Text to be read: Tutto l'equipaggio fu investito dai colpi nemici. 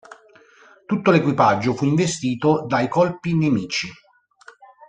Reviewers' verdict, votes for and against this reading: accepted, 2, 0